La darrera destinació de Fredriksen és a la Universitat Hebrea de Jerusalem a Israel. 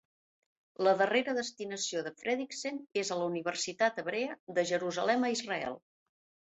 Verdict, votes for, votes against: accepted, 2, 0